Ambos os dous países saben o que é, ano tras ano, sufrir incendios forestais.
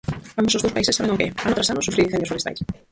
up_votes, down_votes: 0, 4